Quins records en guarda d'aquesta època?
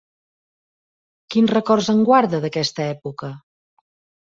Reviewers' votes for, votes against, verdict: 2, 0, accepted